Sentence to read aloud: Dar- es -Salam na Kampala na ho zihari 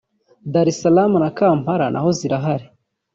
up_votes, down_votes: 1, 2